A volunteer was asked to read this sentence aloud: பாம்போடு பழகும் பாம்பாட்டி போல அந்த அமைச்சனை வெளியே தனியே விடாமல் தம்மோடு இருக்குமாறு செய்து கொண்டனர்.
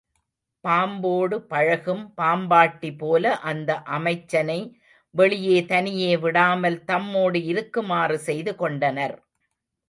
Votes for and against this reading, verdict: 2, 0, accepted